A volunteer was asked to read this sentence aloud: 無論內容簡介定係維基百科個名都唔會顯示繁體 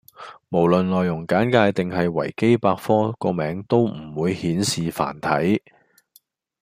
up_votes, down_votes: 2, 0